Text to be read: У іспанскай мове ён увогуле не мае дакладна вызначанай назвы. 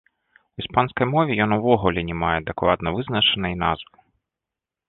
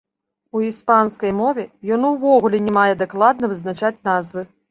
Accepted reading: first